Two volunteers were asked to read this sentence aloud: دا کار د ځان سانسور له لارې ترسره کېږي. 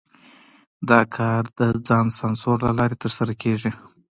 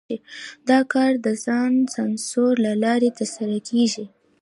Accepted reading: first